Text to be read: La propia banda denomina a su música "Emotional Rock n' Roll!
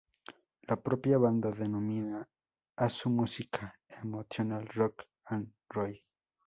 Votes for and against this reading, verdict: 0, 4, rejected